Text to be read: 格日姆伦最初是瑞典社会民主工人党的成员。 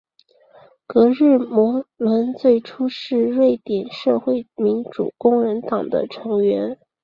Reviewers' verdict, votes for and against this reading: accepted, 2, 0